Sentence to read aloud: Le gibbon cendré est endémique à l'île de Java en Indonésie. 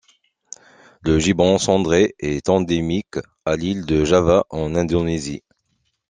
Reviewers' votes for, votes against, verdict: 2, 0, accepted